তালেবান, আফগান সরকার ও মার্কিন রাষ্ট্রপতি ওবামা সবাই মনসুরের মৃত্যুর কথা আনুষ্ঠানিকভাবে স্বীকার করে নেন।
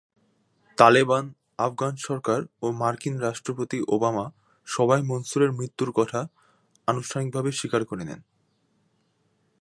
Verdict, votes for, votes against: rejected, 1, 2